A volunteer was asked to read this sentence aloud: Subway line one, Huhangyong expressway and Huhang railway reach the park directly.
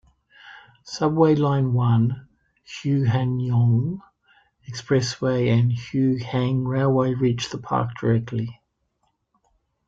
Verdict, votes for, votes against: rejected, 1, 2